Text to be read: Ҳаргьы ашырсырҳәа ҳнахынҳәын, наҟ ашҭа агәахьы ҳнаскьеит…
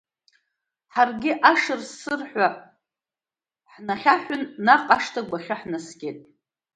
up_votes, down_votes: 1, 2